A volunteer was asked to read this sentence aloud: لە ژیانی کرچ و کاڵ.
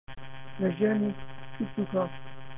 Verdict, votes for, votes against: rejected, 0, 2